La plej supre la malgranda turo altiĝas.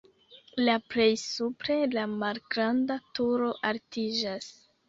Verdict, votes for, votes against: accepted, 2, 0